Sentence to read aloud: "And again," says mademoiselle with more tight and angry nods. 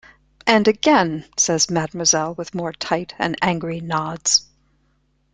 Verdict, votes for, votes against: accepted, 3, 0